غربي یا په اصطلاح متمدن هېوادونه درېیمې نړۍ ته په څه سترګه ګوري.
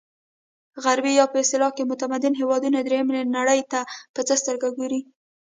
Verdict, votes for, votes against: accepted, 2, 0